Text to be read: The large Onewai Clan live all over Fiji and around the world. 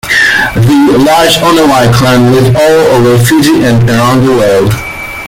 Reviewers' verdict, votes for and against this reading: accepted, 2, 1